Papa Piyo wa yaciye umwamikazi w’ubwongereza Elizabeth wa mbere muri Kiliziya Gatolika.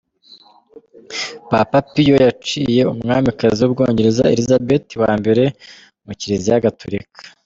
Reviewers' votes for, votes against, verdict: 2, 0, accepted